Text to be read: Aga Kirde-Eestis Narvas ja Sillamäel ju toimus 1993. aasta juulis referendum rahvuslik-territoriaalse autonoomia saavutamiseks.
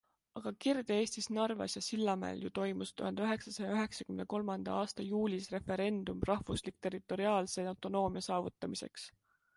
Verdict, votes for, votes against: rejected, 0, 2